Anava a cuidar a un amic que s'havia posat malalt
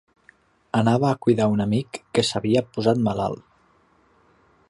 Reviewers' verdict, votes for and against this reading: accepted, 2, 0